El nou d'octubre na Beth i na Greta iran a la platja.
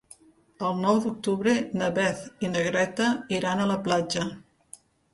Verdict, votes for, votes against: accepted, 2, 0